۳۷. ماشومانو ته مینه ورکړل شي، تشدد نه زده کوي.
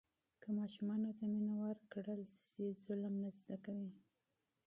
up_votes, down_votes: 0, 2